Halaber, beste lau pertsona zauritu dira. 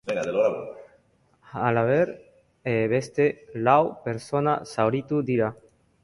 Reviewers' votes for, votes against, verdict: 2, 1, accepted